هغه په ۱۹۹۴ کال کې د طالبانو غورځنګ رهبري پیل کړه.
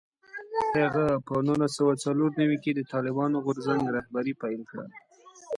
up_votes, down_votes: 0, 2